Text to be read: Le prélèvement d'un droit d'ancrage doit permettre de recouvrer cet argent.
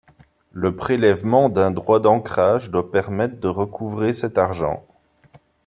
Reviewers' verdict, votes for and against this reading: accepted, 2, 0